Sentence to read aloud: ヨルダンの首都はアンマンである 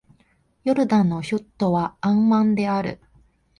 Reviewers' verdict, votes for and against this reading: accepted, 3, 0